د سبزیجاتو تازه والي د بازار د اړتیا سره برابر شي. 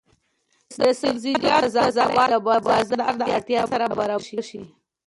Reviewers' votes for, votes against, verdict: 0, 2, rejected